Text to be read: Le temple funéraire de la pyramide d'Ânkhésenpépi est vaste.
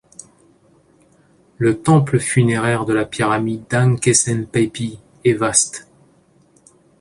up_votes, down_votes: 2, 0